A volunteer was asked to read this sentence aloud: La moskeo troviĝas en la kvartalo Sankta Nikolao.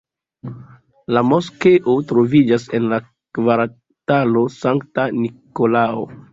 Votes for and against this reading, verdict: 2, 0, accepted